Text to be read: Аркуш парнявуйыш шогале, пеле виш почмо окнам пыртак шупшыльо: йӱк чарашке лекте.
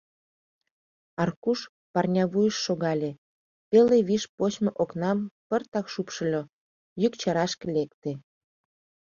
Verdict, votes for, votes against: accepted, 2, 0